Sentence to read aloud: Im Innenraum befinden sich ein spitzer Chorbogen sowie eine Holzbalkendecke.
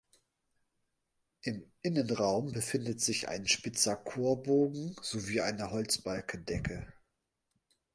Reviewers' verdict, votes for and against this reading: rejected, 2, 2